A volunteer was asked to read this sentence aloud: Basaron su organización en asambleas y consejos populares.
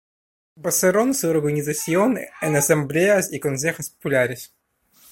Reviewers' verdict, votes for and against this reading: rejected, 1, 2